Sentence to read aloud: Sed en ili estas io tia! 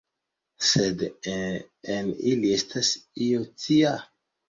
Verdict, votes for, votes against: accepted, 2, 1